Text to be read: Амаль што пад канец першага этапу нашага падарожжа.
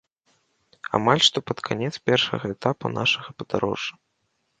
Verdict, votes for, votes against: accepted, 2, 0